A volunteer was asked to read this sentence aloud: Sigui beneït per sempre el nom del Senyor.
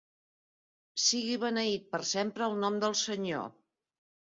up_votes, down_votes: 3, 0